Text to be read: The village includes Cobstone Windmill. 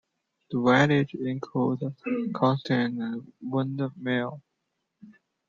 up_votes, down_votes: 0, 2